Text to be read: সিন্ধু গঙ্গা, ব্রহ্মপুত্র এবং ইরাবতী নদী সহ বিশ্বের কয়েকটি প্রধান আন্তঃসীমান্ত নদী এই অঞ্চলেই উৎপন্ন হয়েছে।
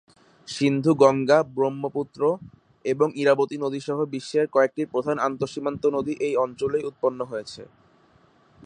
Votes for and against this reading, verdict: 4, 0, accepted